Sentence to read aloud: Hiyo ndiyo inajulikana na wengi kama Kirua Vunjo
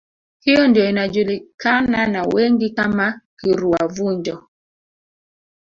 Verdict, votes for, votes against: rejected, 1, 2